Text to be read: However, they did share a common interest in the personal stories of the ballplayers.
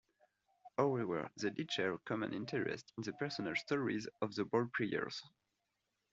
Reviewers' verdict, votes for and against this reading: accepted, 2, 0